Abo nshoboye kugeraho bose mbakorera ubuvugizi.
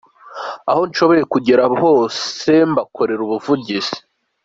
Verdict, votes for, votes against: accepted, 2, 1